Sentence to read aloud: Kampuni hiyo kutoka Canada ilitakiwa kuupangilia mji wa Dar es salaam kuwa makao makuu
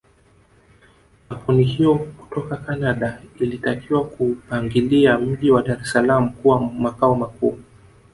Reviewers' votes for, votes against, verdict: 2, 0, accepted